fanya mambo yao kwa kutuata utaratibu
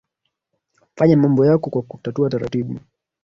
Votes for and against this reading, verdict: 0, 2, rejected